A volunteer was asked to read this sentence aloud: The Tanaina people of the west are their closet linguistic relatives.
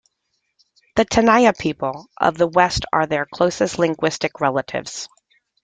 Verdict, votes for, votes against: rejected, 0, 2